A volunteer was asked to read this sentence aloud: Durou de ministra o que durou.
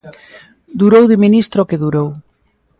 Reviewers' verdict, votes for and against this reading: accepted, 2, 0